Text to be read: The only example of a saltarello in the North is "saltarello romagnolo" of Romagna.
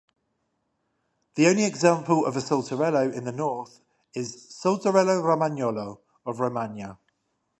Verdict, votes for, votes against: rejected, 5, 5